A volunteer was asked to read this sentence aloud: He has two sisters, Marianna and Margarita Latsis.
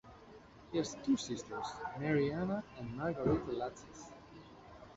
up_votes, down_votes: 0, 2